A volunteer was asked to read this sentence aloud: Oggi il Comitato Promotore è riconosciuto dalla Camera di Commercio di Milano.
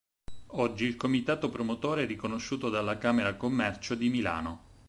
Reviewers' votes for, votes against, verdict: 4, 6, rejected